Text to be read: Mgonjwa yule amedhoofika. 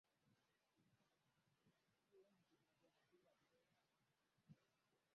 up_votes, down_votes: 0, 2